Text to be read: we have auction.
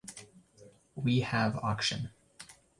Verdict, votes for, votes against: accepted, 2, 0